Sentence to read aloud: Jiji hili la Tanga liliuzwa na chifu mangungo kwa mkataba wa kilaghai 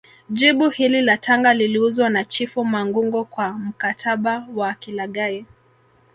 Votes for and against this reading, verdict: 2, 0, accepted